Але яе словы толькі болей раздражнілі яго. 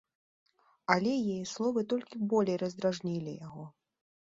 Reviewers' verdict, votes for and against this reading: accepted, 2, 0